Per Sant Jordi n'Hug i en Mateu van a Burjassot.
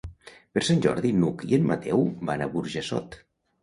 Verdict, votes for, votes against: accepted, 2, 0